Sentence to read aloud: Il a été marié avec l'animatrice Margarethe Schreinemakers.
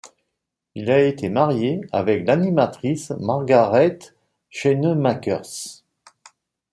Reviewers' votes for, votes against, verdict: 1, 2, rejected